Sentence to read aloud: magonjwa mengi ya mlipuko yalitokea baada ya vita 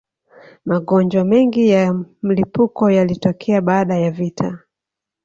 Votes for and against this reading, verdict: 1, 2, rejected